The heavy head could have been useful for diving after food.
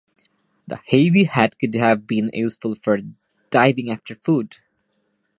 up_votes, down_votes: 2, 1